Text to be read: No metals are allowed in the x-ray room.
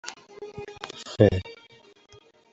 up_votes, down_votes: 0, 2